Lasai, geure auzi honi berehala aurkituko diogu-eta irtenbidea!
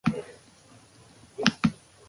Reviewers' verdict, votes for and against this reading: rejected, 0, 2